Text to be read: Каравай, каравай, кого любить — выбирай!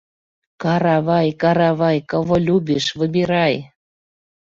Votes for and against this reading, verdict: 0, 2, rejected